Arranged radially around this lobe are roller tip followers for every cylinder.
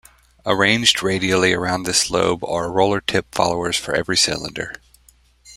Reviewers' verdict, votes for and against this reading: accepted, 2, 0